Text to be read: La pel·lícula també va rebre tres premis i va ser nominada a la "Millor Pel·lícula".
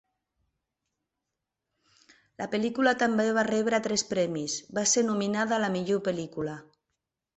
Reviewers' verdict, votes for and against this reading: rejected, 0, 2